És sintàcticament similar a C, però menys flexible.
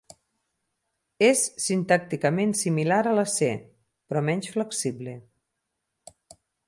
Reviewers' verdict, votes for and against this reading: rejected, 0, 6